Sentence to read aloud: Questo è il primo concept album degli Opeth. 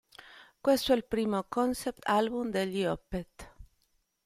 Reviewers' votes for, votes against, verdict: 2, 0, accepted